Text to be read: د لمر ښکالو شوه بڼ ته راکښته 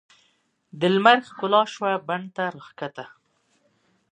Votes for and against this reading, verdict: 3, 0, accepted